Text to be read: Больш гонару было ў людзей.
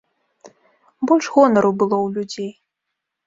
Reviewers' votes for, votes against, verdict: 2, 0, accepted